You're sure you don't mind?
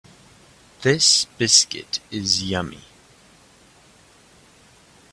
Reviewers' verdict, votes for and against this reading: rejected, 0, 2